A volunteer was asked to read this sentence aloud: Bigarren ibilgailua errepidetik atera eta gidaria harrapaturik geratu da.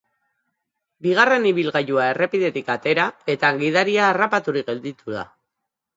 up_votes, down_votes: 1, 2